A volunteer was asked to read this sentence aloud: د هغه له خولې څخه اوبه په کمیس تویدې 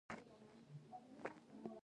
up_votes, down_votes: 1, 2